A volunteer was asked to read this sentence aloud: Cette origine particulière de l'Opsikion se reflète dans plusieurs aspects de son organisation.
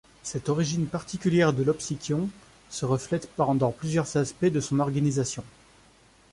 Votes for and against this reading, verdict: 0, 2, rejected